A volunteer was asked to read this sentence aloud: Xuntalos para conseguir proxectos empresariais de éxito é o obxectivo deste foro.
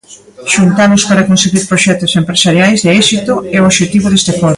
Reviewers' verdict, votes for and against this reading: rejected, 0, 2